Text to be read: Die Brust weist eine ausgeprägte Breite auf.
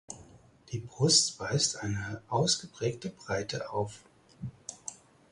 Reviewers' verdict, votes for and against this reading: accepted, 4, 0